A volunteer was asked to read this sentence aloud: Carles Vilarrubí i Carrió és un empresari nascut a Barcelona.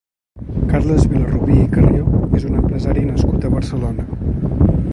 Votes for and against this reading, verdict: 1, 2, rejected